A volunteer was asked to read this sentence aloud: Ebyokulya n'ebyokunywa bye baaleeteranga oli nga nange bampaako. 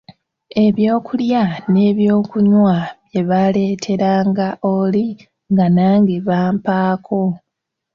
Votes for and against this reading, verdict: 2, 0, accepted